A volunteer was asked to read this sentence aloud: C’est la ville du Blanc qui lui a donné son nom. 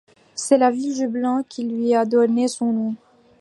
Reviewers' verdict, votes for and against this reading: rejected, 0, 2